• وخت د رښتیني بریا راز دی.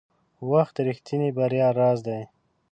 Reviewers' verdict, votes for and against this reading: accepted, 2, 0